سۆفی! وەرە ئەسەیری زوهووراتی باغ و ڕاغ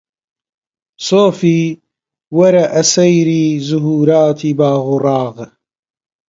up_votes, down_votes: 1, 2